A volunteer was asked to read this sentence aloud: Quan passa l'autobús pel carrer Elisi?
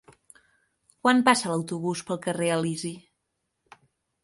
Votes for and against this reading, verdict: 6, 0, accepted